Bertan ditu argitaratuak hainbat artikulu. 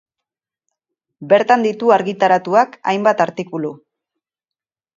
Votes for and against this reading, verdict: 4, 0, accepted